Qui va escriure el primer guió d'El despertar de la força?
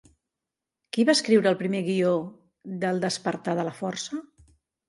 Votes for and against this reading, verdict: 2, 0, accepted